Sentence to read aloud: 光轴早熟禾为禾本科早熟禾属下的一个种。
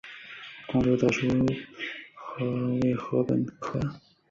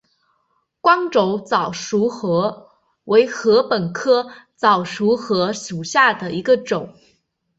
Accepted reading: second